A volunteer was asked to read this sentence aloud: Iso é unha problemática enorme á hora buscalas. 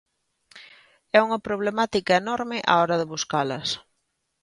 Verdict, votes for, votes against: rejected, 0, 2